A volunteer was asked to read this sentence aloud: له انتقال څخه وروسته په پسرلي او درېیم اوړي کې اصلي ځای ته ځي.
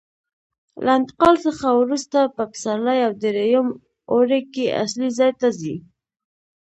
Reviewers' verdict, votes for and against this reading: accepted, 2, 0